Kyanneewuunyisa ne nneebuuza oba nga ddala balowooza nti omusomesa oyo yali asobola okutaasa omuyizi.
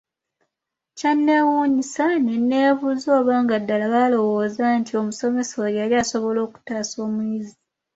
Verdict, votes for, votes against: accepted, 2, 1